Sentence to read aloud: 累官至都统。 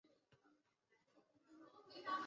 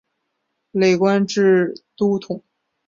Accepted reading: second